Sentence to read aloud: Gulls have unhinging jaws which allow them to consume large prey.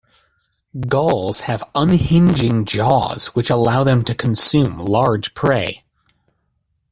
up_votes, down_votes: 2, 1